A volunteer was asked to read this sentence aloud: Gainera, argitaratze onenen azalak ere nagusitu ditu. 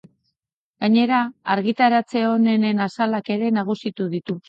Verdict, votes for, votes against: accepted, 3, 0